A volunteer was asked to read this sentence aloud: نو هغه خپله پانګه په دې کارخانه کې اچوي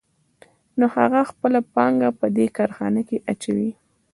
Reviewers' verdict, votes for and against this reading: rejected, 1, 2